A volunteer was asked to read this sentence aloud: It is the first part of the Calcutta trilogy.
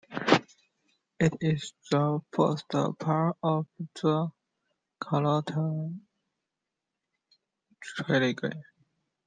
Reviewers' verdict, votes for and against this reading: rejected, 0, 2